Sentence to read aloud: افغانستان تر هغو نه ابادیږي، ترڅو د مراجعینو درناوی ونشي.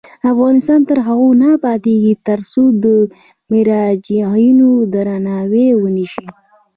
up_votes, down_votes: 2, 0